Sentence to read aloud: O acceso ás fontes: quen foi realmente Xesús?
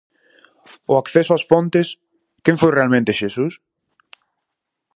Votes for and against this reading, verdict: 4, 0, accepted